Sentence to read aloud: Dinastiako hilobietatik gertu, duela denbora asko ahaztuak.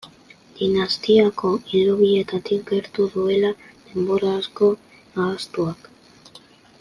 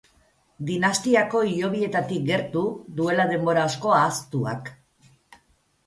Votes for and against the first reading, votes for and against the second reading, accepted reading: 2, 0, 0, 2, first